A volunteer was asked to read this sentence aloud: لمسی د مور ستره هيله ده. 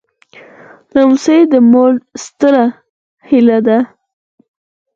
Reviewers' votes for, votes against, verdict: 0, 4, rejected